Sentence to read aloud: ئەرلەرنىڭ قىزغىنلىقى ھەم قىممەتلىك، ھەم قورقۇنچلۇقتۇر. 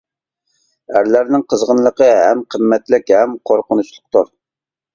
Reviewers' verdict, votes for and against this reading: accepted, 2, 0